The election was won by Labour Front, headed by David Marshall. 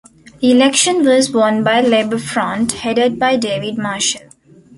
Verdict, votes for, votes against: accepted, 2, 0